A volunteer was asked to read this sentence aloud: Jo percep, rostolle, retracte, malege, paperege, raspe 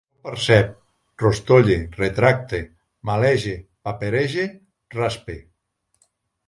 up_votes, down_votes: 0, 2